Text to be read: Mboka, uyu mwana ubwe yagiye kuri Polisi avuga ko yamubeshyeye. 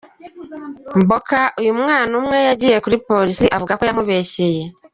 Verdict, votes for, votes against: rejected, 1, 2